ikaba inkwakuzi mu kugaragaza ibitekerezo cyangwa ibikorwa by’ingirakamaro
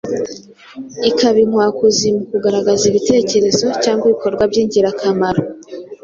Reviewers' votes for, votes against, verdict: 3, 0, accepted